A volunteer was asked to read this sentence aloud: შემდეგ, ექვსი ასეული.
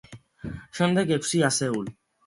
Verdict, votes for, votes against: accepted, 2, 0